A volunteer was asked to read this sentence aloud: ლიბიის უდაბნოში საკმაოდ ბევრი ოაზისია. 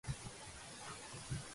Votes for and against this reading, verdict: 0, 2, rejected